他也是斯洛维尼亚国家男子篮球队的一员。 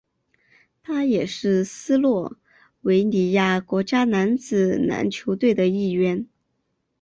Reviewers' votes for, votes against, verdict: 4, 0, accepted